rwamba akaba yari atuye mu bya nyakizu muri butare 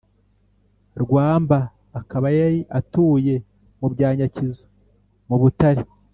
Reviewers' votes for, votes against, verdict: 1, 2, rejected